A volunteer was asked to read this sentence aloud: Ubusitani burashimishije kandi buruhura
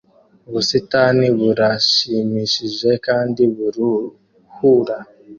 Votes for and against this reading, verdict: 2, 0, accepted